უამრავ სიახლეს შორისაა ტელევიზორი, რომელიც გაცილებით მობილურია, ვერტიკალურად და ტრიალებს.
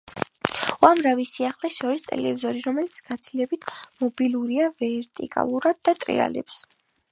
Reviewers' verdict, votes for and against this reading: rejected, 1, 2